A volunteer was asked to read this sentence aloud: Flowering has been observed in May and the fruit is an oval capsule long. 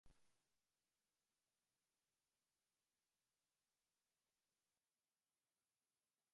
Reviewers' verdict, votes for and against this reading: rejected, 0, 2